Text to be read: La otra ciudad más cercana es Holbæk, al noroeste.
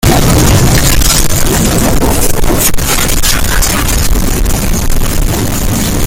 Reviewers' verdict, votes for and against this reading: rejected, 0, 2